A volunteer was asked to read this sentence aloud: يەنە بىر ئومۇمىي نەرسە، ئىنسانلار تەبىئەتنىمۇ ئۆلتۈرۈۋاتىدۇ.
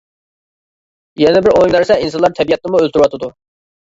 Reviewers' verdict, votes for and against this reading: rejected, 0, 2